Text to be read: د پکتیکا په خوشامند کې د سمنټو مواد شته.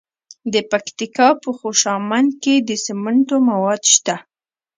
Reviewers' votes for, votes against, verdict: 0, 2, rejected